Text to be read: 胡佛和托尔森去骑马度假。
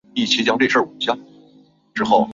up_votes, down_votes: 0, 3